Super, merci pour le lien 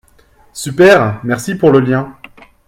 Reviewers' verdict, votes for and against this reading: accepted, 2, 0